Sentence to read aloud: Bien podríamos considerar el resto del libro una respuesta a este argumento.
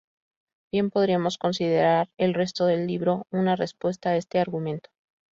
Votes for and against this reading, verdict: 2, 0, accepted